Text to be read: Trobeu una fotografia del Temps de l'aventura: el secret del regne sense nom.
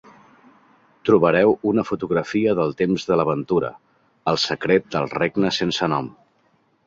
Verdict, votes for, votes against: rejected, 0, 2